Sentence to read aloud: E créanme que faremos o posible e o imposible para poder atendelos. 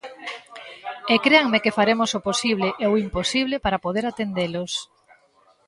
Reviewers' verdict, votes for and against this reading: accepted, 2, 1